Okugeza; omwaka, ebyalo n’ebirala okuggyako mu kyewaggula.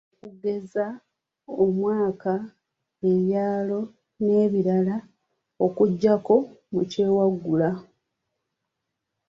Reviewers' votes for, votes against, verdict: 0, 2, rejected